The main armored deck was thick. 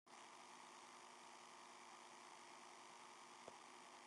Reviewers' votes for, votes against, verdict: 0, 2, rejected